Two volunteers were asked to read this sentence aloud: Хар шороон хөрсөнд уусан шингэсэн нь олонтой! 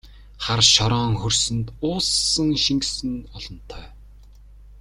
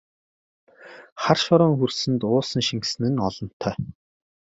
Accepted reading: second